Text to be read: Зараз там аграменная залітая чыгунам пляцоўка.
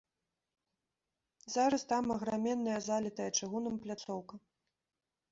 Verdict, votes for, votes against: rejected, 1, 2